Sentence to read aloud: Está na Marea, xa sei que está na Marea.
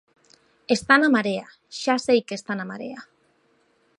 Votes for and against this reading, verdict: 2, 0, accepted